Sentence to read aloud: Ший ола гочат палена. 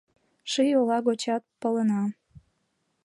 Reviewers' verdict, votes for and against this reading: accepted, 2, 0